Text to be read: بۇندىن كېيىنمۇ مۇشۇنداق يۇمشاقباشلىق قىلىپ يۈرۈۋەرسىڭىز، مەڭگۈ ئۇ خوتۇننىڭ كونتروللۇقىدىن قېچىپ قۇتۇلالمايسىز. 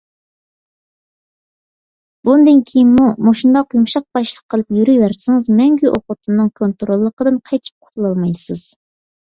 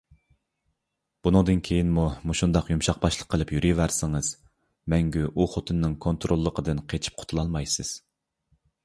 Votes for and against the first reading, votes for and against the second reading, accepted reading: 2, 0, 2, 3, first